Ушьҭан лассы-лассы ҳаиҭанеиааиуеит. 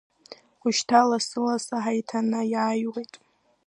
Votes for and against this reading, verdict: 2, 1, accepted